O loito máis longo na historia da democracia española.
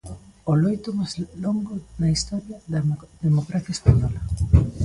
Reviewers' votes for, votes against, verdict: 0, 2, rejected